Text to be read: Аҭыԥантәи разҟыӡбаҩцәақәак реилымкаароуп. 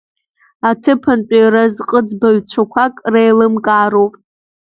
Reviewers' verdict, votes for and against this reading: accepted, 3, 2